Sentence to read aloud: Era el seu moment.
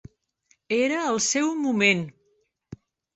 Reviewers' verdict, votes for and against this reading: accepted, 3, 0